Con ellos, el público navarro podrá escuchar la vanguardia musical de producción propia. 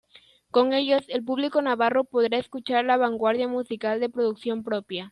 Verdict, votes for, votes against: accepted, 2, 0